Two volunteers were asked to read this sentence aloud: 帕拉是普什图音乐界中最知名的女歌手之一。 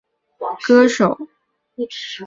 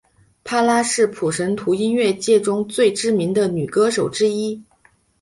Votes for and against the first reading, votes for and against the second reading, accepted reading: 0, 5, 2, 0, second